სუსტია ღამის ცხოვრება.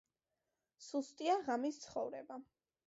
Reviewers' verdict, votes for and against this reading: accepted, 2, 0